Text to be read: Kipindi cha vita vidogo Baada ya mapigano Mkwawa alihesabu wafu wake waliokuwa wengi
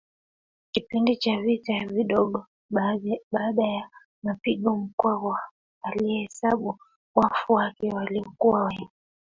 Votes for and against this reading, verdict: 2, 1, accepted